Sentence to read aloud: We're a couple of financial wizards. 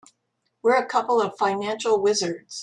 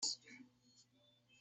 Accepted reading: first